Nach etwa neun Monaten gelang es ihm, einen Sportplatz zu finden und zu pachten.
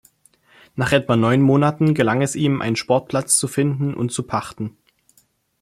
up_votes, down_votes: 1, 2